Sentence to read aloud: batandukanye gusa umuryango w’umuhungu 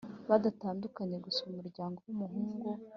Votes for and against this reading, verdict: 4, 1, accepted